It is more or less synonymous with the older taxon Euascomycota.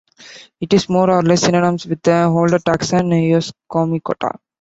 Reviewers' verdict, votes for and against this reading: rejected, 1, 2